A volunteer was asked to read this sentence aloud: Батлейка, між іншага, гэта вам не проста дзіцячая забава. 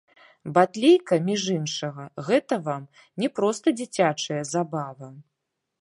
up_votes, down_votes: 1, 3